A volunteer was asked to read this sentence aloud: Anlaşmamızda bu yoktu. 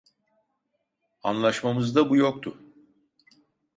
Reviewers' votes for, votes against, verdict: 2, 0, accepted